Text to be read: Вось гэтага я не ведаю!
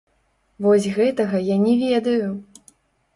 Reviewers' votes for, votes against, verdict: 1, 2, rejected